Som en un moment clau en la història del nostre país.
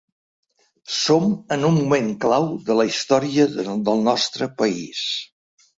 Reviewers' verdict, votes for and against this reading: rejected, 1, 2